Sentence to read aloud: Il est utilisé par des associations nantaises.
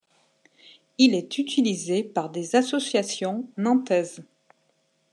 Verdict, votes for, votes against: accepted, 2, 0